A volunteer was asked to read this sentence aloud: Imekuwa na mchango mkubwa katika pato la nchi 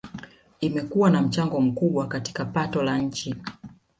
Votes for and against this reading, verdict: 2, 0, accepted